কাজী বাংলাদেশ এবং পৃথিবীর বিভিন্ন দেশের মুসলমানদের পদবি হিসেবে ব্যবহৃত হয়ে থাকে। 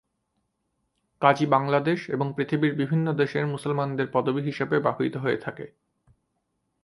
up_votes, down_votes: 5, 1